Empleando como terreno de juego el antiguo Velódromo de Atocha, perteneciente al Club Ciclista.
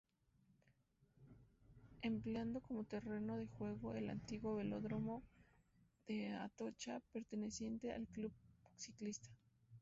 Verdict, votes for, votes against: rejected, 2, 2